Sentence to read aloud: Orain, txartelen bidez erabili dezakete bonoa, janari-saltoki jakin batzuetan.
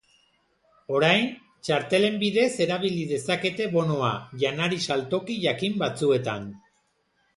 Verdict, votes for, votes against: accepted, 2, 0